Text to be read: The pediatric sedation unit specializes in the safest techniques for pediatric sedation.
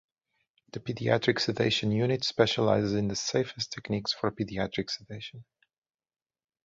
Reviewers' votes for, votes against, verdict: 4, 0, accepted